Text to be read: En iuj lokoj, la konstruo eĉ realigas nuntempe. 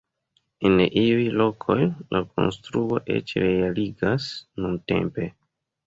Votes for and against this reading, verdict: 2, 1, accepted